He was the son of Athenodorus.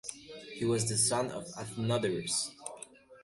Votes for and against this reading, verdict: 2, 0, accepted